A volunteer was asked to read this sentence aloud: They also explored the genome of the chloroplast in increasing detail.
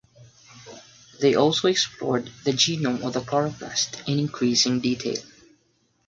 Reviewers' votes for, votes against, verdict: 6, 0, accepted